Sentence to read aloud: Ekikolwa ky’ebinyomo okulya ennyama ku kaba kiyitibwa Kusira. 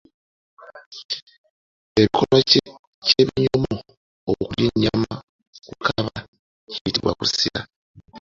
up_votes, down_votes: 1, 2